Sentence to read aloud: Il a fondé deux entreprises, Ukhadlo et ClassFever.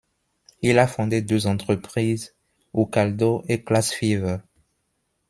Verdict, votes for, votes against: rejected, 1, 2